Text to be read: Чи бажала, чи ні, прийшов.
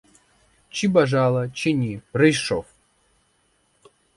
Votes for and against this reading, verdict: 4, 0, accepted